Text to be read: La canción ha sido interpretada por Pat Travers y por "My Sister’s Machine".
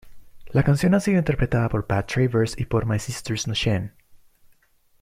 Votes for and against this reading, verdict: 2, 0, accepted